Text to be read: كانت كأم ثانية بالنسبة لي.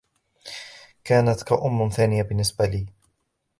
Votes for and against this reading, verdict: 0, 2, rejected